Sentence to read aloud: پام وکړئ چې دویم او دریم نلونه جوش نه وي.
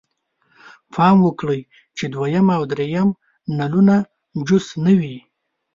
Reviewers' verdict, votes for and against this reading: accepted, 3, 0